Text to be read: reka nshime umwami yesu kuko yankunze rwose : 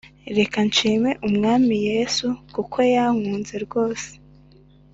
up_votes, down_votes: 2, 0